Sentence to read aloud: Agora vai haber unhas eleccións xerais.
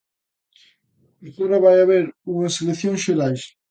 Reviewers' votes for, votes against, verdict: 2, 0, accepted